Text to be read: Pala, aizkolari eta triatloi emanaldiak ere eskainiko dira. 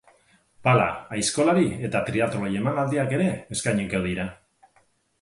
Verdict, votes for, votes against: accepted, 4, 0